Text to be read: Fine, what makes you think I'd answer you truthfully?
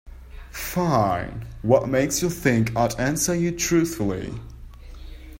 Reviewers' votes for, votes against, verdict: 2, 0, accepted